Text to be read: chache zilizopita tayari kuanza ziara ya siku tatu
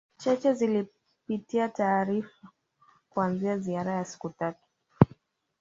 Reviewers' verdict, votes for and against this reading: rejected, 0, 2